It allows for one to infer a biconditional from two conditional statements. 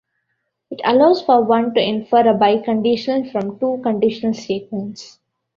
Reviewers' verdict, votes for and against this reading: rejected, 0, 2